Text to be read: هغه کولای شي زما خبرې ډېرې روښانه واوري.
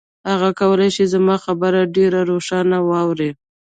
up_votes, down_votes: 0, 2